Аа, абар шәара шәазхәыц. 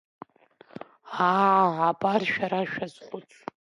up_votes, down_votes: 2, 1